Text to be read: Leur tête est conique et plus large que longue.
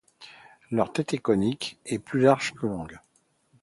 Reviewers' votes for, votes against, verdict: 2, 0, accepted